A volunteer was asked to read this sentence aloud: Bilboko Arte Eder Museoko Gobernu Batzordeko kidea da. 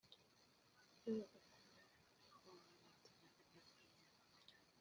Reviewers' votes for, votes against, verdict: 0, 2, rejected